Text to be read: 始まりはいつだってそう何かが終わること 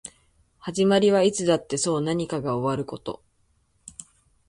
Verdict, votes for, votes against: accepted, 2, 0